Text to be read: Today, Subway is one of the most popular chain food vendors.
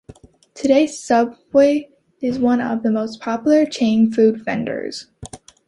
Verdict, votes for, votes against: accepted, 2, 0